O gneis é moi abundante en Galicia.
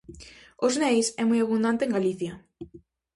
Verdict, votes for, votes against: rejected, 0, 2